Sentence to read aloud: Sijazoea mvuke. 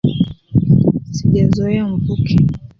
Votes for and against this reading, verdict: 2, 1, accepted